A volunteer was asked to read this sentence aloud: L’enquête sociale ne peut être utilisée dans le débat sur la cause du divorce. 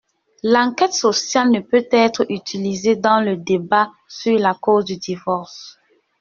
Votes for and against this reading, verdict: 1, 2, rejected